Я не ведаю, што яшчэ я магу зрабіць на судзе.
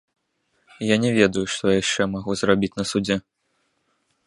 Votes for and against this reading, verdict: 0, 2, rejected